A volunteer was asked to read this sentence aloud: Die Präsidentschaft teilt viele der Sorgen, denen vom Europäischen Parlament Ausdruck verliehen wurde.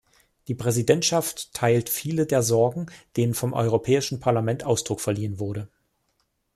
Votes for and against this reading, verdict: 2, 0, accepted